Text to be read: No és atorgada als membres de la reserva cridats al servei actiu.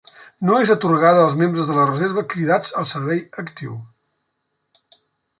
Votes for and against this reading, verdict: 2, 0, accepted